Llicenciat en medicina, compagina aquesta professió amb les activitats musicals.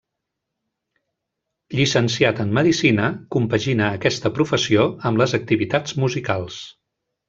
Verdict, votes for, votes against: accepted, 3, 0